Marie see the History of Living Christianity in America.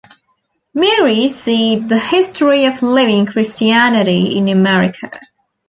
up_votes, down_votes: 2, 0